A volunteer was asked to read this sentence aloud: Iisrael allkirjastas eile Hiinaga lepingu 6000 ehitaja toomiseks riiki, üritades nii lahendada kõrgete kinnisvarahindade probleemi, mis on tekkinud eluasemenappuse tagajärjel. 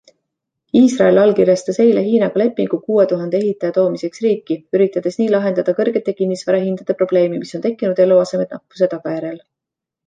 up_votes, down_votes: 0, 2